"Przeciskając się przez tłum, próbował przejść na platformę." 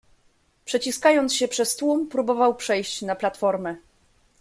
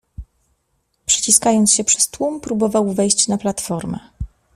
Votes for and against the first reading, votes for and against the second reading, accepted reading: 2, 0, 1, 2, first